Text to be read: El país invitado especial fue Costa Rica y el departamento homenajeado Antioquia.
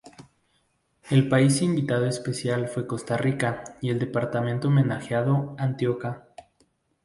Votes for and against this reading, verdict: 0, 2, rejected